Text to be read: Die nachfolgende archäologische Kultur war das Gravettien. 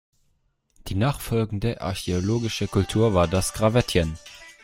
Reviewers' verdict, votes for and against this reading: rejected, 1, 2